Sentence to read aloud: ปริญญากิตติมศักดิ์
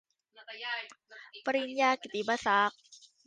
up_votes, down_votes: 2, 1